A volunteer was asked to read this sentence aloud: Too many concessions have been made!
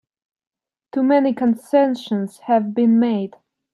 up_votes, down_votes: 2, 5